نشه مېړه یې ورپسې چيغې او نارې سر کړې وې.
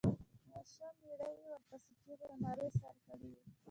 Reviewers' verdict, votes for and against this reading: rejected, 0, 2